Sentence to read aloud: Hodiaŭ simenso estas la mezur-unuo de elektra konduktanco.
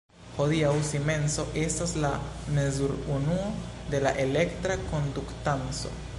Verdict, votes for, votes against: accepted, 2, 1